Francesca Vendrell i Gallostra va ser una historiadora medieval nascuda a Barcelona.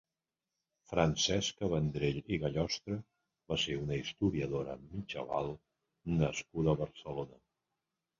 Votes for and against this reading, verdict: 1, 3, rejected